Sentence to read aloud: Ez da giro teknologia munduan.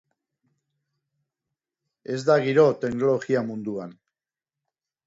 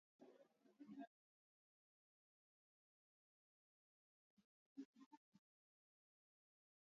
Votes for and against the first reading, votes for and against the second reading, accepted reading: 2, 0, 0, 2, first